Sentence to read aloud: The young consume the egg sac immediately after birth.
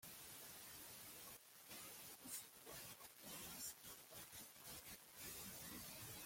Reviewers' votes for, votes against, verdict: 0, 2, rejected